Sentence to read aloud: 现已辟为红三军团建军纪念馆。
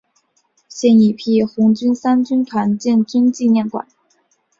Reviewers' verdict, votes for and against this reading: accepted, 5, 3